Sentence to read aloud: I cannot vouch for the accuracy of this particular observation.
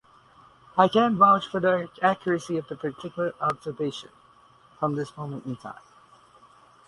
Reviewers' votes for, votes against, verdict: 0, 4, rejected